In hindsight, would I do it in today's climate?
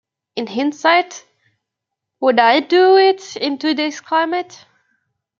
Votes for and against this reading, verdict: 2, 0, accepted